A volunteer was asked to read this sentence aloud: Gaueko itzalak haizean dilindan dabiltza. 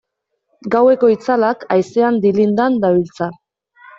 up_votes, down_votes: 2, 0